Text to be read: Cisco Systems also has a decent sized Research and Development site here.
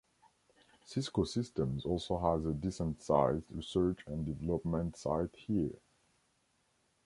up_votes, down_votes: 2, 0